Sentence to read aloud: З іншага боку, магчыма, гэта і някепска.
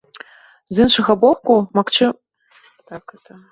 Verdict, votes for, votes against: rejected, 0, 2